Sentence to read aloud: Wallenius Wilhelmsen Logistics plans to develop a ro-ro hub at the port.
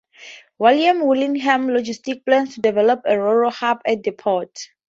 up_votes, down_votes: 0, 2